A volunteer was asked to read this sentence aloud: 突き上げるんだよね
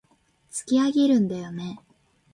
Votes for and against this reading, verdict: 2, 0, accepted